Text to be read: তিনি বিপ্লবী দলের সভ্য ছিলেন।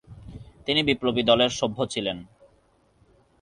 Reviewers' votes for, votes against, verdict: 2, 0, accepted